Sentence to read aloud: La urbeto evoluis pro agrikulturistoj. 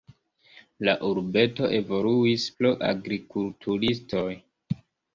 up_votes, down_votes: 2, 0